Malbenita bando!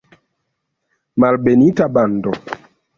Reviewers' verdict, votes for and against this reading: rejected, 0, 2